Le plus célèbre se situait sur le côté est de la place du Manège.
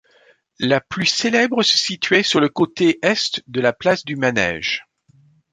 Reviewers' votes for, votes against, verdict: 1, 2, rejected